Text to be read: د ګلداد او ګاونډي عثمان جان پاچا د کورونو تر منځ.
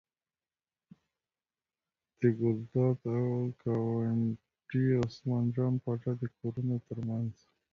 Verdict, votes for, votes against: rejected, 0, 2